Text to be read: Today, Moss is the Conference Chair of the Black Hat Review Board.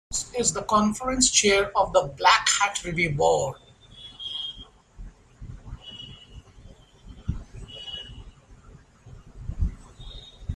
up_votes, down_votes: 0, 2